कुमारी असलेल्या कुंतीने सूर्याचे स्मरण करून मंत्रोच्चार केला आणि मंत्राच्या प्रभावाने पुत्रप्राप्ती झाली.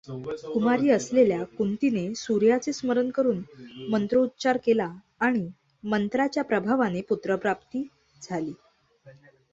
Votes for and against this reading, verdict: 2, 1, accepted